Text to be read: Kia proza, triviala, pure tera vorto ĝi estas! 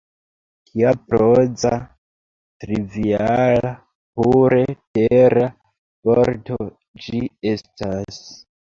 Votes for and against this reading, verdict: 0, 2, rejected